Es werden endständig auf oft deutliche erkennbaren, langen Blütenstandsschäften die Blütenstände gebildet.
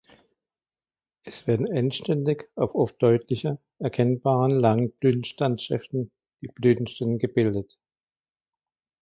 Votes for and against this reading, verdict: 2, 1, accepted